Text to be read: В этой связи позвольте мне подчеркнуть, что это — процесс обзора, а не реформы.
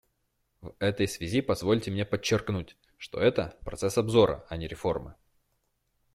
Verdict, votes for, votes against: accepted, 2, 0